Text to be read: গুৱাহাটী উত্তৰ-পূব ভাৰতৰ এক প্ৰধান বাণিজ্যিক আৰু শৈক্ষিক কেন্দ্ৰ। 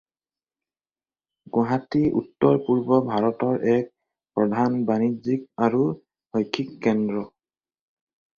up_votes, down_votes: 4, 2